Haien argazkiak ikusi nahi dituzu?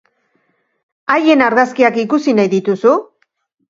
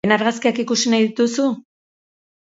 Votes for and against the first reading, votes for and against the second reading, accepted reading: 2, 0, 0, 6, first